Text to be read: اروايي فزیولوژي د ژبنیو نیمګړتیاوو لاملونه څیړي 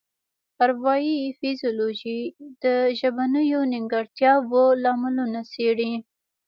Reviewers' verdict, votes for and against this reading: rejected, 1, 2